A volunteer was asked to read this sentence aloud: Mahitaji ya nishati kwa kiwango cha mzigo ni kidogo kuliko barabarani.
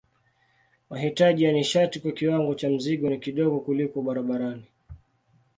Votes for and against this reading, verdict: 1, 2, rejected